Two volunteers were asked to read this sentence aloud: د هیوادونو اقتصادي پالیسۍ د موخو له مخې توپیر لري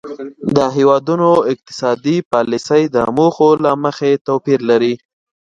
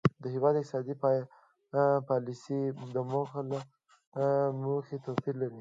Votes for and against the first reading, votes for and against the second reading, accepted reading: 2, 0, 0, 2, first